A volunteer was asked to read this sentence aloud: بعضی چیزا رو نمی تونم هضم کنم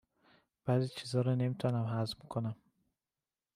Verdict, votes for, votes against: accepted, 2, 0